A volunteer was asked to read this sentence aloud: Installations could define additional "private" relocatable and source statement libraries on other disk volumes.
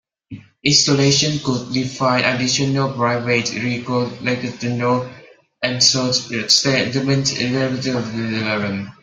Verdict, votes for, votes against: rejected, 0, 2